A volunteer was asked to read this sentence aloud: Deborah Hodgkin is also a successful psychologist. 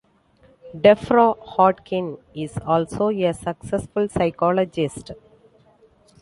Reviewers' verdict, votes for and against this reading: rejected, 1, 2